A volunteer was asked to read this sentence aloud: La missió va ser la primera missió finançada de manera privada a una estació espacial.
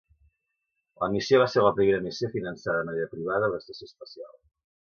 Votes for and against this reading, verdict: 1, 3, rejected